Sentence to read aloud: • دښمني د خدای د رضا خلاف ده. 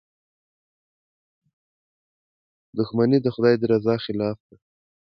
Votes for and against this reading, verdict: 2, 0, accepted